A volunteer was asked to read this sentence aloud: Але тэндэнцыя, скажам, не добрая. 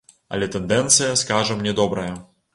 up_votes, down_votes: 1, 2